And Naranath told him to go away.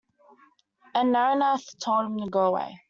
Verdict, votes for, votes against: rejected, 1, 2